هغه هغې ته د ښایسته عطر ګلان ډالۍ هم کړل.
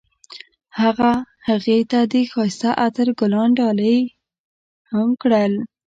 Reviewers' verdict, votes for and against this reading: rejected, 0, 2